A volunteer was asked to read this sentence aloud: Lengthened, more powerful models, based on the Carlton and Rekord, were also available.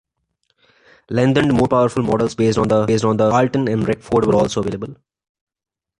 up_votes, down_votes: 1, 2